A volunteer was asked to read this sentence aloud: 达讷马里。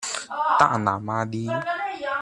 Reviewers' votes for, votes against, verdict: 1, 2, rejected